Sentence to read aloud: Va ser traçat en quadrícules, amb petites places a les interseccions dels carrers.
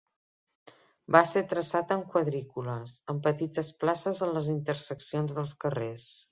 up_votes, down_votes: 2, 1